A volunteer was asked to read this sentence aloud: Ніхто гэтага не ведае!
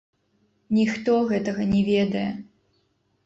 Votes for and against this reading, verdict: 0, 2, rejected